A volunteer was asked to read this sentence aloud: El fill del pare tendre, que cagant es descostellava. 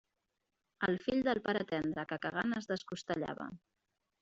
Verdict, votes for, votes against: rejected, 1, 2